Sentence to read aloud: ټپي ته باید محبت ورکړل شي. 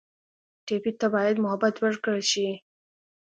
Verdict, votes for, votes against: accepted, 2, 0